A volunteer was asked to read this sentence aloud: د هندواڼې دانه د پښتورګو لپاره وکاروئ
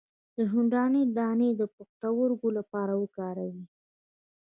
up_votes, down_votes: 0, 2